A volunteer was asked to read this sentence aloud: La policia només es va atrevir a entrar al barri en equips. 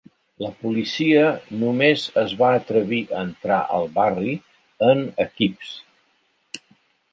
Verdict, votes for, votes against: accepted, 2, 0